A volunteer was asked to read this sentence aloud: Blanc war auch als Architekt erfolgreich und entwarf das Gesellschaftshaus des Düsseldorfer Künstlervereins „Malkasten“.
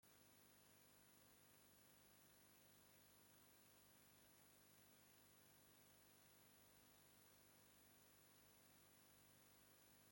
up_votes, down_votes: 0, 2